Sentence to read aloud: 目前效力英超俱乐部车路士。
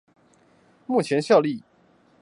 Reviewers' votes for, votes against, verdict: 0, 4, rejected